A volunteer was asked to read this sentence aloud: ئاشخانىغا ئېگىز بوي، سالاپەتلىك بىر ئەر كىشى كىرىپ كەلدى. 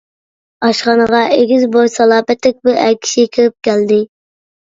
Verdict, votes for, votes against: accepted, 2, 0